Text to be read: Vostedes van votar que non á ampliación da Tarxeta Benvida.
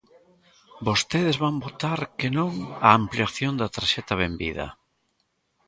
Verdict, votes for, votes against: accepted, 2, 0